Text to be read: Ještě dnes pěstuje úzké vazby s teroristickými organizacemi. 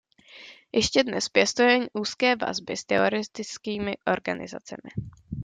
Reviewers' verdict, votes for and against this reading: rejected, 0, 2